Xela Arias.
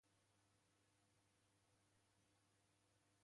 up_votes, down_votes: 1, 4